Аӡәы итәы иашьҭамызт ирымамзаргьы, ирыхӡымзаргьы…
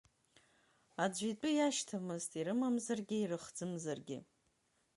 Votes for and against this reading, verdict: 3, 2, accepted